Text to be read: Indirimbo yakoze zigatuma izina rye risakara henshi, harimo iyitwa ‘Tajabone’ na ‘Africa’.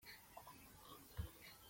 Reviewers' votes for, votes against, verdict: 0, 2, rejected